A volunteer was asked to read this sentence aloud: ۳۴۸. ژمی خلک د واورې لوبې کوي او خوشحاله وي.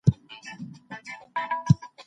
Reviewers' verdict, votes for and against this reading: rejected, 0, 2